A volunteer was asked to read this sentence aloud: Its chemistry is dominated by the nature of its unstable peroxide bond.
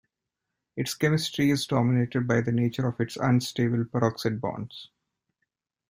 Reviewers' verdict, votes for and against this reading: accepted, 2, 0